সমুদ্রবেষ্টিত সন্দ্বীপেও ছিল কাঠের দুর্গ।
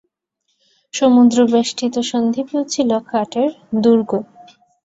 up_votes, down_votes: 2, 1